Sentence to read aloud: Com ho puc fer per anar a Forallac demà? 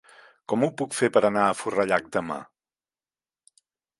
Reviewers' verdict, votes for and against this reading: accepted, 3, 1